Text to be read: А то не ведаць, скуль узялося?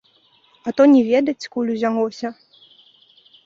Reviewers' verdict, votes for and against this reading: accepted, 2, 0